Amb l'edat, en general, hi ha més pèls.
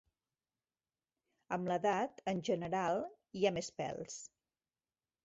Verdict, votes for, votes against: accepted, 3, 0